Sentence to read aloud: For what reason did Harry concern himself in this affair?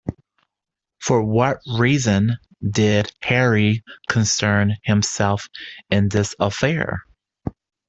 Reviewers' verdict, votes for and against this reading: accepted, 2, 0